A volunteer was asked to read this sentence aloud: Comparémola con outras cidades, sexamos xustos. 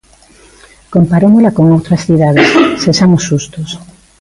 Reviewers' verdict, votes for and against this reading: accepted, 2, 0